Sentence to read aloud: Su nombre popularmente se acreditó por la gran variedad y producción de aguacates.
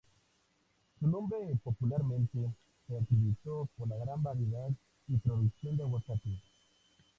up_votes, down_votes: 0, 2